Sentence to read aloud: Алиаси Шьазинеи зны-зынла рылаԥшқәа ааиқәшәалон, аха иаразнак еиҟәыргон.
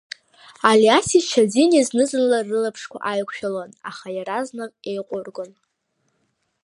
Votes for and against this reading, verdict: 2, 1, accepted